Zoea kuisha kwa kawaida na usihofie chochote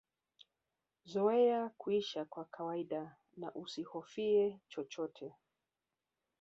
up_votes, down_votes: 2, 0